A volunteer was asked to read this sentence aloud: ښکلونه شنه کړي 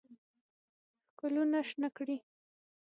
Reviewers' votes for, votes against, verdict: 3, 6, rejected